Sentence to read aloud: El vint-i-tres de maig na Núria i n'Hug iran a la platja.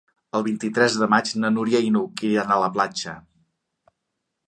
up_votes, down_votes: 2, 0